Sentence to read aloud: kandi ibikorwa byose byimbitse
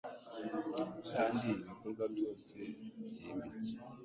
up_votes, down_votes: 2, 0